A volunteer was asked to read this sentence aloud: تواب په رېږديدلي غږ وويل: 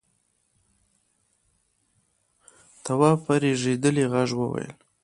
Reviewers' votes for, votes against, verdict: 1, 2, rejected